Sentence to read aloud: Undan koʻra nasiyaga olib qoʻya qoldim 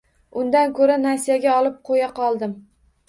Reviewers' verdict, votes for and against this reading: rejected, 1, 2